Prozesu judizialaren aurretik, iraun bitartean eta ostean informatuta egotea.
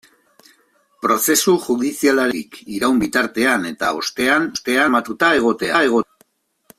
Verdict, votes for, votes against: rejected, 0, 3